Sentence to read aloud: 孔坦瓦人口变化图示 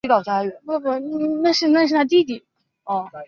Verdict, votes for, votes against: accepted, 2, 1